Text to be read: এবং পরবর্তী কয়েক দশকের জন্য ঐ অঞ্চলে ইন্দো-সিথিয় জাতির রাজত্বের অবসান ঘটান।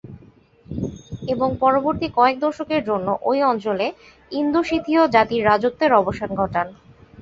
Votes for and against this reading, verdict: 4, 0, accepted